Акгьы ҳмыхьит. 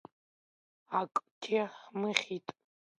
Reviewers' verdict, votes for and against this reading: accepted, 2, 1